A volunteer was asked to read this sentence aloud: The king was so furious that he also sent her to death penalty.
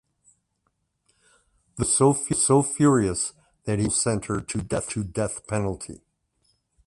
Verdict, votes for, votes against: rejected, 0, 2